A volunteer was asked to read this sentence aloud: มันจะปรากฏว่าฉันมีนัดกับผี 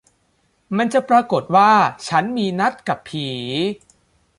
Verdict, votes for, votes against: accepted, 2, 0